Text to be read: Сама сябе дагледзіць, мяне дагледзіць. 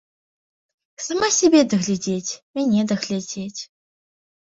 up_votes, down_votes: 0, 2